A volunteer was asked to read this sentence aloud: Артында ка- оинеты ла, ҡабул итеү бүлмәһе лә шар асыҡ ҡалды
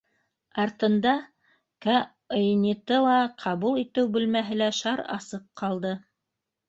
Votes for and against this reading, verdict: 1, 2, rejected